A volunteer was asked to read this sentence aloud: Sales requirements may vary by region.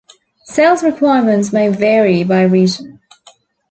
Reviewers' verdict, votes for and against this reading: accepted, 2, 0